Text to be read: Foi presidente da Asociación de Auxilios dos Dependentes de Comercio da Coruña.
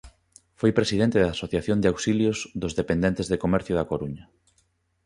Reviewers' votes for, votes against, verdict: 2, 0, accepted